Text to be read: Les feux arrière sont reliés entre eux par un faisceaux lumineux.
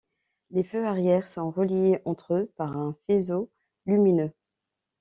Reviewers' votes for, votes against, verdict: 1, 2, rejected